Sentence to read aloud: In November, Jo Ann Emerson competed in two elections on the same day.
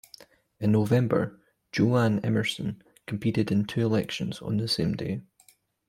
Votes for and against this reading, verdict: 2, 0, accepted